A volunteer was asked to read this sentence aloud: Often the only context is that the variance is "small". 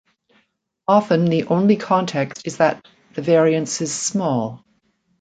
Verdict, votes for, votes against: accepted, 2, 0